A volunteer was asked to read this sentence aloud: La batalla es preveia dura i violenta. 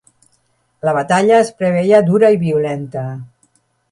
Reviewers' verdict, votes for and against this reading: accepted, 4, 0